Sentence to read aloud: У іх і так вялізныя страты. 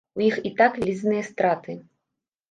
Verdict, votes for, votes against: rejected, 0, 2